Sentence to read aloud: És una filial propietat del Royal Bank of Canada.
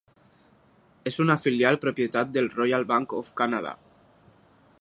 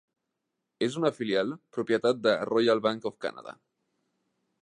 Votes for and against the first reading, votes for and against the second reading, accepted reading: 4, 0, 2, 3, first